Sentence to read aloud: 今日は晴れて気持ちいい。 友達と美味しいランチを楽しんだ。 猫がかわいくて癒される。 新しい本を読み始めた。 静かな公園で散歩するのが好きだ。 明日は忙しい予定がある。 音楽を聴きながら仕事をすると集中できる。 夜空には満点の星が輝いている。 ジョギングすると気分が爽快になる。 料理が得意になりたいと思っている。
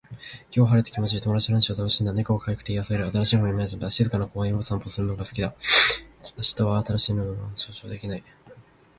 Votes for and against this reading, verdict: 0, 2, rejected